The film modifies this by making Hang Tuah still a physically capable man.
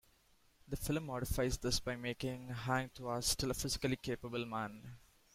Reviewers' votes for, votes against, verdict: 2, 0, accepted